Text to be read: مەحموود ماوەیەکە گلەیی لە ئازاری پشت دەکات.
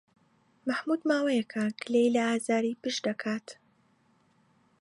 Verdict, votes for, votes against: accepted, 2, 0